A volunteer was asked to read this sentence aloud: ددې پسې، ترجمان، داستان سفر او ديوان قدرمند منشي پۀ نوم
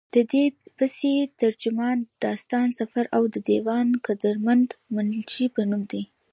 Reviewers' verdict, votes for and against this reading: rejected, 0, 2